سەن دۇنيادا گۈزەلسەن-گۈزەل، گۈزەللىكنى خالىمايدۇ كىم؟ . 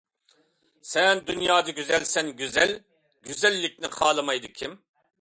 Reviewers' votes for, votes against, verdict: 2, 0, accepted